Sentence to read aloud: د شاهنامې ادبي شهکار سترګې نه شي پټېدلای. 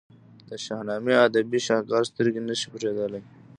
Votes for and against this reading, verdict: 0, 2, rejected